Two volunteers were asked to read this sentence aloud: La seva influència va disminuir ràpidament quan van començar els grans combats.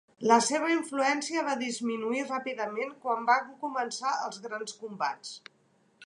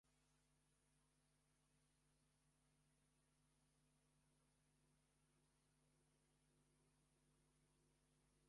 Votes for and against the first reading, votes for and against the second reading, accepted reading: 2, 1, 0, 2, first